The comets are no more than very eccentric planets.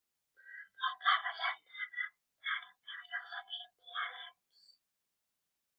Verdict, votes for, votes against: rejected, 0, 2